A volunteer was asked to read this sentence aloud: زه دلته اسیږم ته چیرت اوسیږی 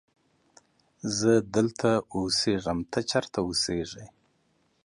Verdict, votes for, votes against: accepted, 2, 0